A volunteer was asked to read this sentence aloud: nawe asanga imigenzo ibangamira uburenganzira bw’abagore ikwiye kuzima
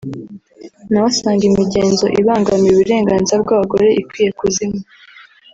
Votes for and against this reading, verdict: 2, 1, accepted